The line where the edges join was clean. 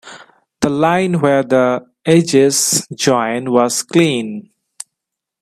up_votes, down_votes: 1, 2